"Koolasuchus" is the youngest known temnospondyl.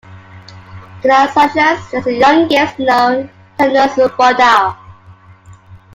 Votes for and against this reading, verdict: 0, 2, rejected